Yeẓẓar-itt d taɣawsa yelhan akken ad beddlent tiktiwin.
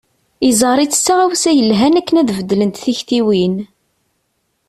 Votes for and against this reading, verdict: 2, 0, accepted